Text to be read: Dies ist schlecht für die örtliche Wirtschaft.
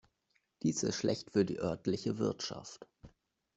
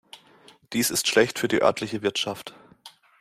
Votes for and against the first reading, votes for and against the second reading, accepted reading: 1, 2, 2, 0, second